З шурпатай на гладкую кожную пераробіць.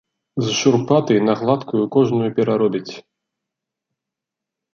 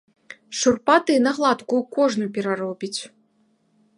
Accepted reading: first